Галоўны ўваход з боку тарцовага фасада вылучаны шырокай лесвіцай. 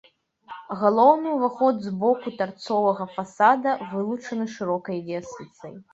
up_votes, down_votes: 2, 0